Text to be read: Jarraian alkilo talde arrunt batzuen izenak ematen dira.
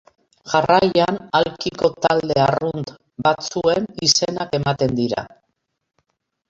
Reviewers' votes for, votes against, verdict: 1, 2, rejected